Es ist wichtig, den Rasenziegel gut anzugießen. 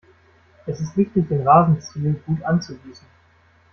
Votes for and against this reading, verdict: 0, 2, rejected